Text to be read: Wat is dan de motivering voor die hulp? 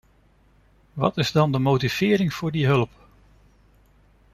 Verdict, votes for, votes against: accepted, 2, 0